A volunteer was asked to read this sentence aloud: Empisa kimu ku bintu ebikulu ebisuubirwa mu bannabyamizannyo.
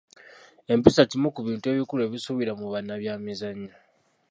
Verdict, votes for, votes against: rejected, 1, 2